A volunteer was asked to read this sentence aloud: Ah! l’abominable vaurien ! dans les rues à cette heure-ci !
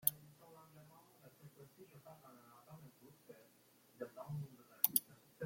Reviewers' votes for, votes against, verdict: 0, 2, rejected